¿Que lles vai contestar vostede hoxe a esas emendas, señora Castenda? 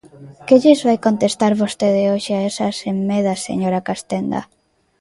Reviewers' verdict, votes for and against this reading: rejected, 0, 2